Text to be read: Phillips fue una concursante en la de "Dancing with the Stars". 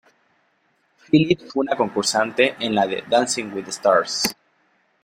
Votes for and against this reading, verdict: 2, 0, accepted